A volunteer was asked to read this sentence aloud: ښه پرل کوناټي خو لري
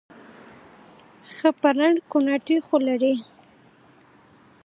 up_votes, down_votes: 2, 0